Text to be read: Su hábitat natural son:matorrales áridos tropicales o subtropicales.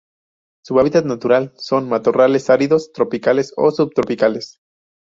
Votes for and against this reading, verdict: 2, 0, accepted